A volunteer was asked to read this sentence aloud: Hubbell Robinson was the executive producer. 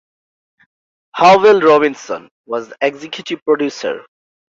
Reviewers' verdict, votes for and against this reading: accepted, 2, 0